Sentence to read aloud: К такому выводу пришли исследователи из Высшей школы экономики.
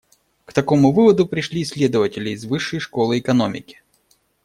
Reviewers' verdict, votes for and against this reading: accepted, 2, 0